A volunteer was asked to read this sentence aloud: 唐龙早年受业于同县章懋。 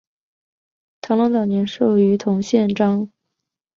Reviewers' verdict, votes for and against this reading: rejected, 1, 2